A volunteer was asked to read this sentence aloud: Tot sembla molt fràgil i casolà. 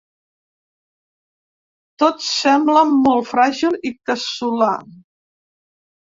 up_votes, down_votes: 1, 2